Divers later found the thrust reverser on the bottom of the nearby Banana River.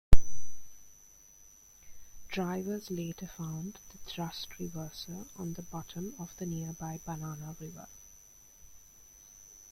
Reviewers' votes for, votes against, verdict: 1, 2, rejected